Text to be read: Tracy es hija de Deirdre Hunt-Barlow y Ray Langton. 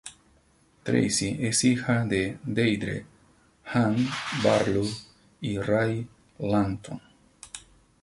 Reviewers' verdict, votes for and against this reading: rejected, 0, 2